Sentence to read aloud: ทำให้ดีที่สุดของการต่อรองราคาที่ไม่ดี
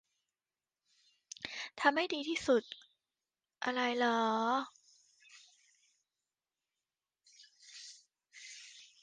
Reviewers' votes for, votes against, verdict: 0, 2, rejected